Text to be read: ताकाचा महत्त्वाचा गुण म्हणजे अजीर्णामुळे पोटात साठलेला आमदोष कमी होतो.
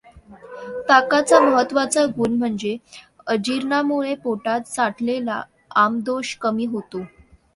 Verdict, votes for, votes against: accepted, 2, 0